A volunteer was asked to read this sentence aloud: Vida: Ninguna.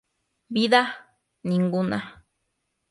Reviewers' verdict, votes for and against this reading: accepted, 2, 0